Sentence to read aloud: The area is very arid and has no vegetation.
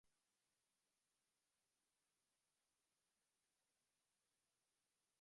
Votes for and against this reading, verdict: 0, 2, rejected